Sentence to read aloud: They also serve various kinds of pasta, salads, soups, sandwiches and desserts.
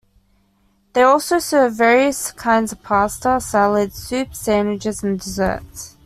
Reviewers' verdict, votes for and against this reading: accepted, 2, 0